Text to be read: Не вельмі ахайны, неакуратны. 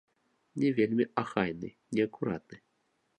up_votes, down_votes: 2, 0